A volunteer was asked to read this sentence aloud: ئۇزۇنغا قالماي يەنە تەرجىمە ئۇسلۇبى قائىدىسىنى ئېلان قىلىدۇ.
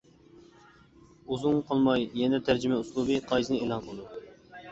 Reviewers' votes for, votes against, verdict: 2, 1, accepted